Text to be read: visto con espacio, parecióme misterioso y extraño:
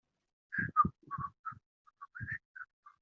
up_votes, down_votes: 0, 2